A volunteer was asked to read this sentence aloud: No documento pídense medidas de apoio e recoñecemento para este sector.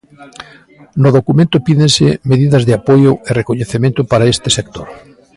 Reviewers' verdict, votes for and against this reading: accepted, 2, 0